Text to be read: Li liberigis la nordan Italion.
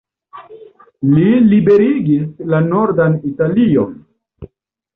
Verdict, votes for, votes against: rejected, 1, 2